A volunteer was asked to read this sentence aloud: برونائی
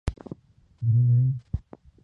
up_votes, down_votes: 2, 4